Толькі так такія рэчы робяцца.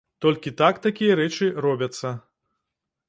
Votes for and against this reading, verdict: 2, 0, accepted